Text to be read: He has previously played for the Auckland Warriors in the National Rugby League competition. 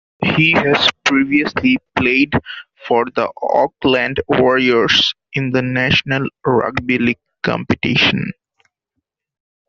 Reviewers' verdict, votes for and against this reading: accepted, 2, 0